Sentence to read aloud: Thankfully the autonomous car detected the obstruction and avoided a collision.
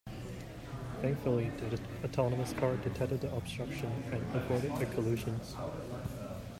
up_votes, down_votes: 2, 1